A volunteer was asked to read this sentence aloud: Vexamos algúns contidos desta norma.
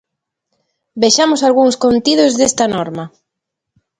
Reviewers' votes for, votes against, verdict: 2, 0, accepted